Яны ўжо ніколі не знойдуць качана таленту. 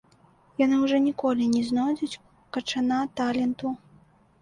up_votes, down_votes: 2, 1